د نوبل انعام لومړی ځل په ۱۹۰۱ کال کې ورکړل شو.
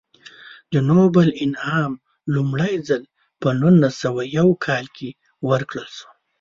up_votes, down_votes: 0, 2